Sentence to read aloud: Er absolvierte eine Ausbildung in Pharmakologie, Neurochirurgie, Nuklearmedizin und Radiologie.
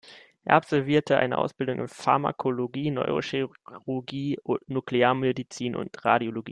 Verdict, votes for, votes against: rejected, 0, 2